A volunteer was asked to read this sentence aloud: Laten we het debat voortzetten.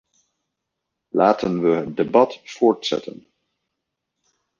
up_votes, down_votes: 0, 2